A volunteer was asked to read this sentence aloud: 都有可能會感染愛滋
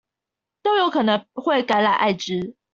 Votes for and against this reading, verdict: 2, 1, accepted